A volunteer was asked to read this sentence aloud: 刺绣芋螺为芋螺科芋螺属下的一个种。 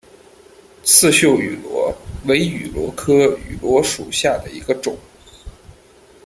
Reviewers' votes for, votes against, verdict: 2, 0, accepted